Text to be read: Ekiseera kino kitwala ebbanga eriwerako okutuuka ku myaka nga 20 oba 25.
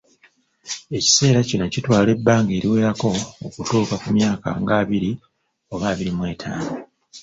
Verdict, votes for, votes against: rejected, 0, 2